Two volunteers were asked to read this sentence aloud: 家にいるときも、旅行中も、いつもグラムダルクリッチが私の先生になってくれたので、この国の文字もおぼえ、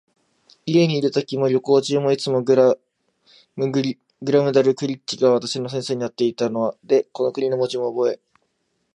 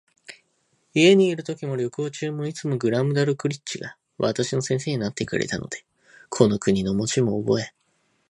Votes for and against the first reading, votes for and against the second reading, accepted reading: 1, 2, 2, 0, second